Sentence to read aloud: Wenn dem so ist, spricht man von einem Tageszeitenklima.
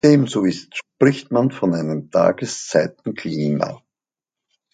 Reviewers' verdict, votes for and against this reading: rejected, 0, 2